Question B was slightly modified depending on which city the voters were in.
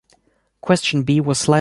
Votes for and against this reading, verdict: 0, 2, rejected